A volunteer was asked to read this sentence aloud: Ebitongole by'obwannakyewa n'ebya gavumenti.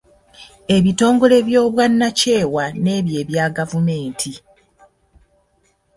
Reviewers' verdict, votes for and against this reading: accepted, 2, 1